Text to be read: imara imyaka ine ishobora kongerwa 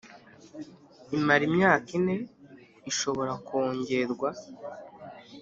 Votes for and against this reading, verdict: 2, 0, accepted